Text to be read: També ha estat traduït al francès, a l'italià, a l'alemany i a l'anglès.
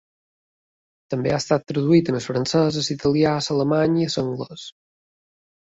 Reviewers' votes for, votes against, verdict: 3, 0, accepted